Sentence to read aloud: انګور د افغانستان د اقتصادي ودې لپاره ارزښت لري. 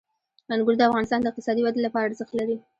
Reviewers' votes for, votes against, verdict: 2, 0, accepted